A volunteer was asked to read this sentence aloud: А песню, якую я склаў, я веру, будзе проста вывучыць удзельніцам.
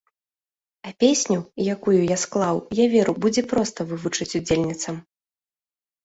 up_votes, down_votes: 2, 0